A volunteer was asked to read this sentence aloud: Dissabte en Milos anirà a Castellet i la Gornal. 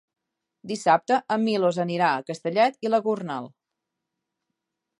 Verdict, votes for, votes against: accepted, 3, 0